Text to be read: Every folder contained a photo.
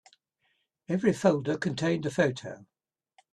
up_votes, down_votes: 2, 0